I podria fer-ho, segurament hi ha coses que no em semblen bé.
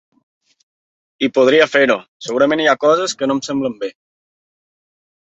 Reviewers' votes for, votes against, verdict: 2, 0, accepted